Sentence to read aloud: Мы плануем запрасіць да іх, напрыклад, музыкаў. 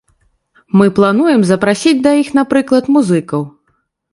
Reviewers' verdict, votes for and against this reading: accepted, 2, 0